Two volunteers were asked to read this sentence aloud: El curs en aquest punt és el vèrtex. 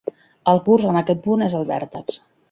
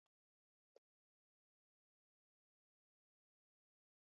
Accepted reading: first